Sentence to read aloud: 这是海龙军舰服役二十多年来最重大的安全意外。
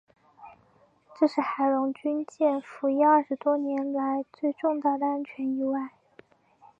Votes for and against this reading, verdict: 4, 0, accepted